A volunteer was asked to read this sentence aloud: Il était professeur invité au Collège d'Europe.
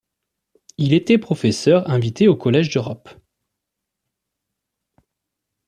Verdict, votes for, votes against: accepted, 2, 0